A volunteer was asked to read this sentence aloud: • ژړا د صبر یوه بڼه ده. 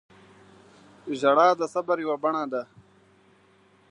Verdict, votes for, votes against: accepted, 3, 1